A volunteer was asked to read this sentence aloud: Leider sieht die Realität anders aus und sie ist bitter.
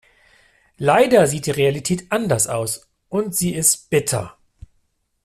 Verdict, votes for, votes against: accepted, 2, 0